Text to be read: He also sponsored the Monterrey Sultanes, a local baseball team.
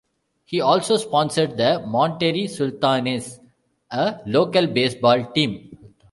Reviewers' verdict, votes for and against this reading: accepted, 2, 0